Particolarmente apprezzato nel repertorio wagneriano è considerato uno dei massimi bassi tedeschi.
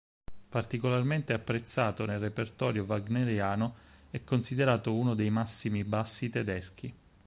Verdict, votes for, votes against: accepted, 6, 0